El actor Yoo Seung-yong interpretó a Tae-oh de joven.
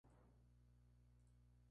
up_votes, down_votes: 0, 2